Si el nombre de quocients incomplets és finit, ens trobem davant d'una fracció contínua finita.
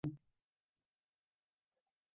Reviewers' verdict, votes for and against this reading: rejected, 0, 3